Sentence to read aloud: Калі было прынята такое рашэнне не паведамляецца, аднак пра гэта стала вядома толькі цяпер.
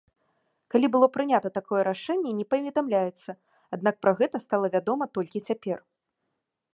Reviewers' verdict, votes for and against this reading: accepted, 2, 0